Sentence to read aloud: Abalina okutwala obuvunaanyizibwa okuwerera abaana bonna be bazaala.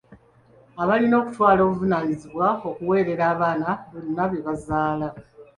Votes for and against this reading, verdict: 2, 0, accepted